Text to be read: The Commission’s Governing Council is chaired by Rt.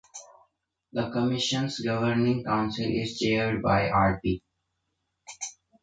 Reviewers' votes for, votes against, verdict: 1, 2, rejected